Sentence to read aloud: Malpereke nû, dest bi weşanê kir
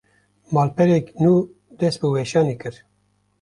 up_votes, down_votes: 0, 2